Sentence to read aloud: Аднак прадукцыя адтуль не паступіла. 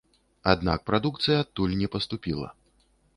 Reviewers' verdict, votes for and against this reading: rejected, 0, 2